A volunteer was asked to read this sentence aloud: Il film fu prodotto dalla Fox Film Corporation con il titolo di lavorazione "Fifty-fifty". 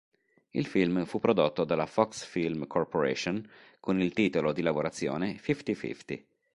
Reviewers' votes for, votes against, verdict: 3, 0, accepted